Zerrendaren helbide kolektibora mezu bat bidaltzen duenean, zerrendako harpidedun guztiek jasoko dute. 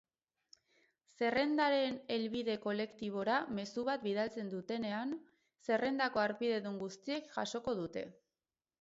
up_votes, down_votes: 2, 4